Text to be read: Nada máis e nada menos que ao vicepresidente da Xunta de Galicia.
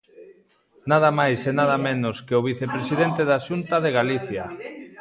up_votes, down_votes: 2, 0